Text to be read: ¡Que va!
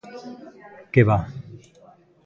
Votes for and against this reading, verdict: 3, 0, accepted